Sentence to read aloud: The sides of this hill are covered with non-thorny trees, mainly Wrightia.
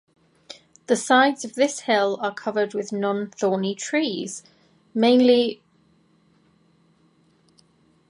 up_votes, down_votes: 0, 2